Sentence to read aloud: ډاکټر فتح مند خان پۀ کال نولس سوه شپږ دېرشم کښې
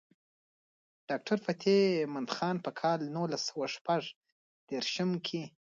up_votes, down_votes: 1, 2